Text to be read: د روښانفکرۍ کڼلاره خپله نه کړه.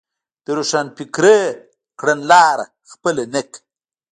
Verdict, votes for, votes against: rejected, 0, 2